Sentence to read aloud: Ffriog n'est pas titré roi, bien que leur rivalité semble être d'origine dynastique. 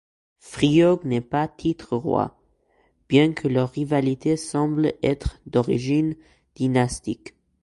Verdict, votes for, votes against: rejected, 0, 2